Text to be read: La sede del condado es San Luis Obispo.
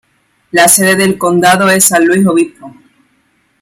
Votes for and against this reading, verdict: 1, 2, rejected